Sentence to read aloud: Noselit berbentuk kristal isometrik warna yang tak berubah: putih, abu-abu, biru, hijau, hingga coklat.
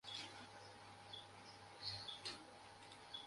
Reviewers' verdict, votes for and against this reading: rejected, 0, 2